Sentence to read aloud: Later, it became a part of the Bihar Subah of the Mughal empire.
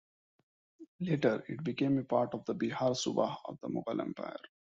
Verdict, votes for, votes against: accepted, 2, 0